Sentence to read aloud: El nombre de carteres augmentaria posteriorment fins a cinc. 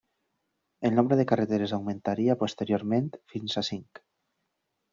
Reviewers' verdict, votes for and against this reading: rejected, 0, 2